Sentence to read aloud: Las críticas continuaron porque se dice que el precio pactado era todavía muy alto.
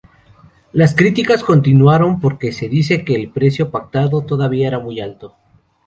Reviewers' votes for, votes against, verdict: 0, 2, rejected